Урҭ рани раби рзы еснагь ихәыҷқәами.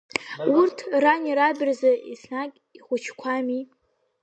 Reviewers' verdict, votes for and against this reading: accepted, 2, 0